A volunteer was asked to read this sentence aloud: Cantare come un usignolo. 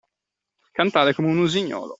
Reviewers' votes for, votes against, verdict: 2, 0, accepted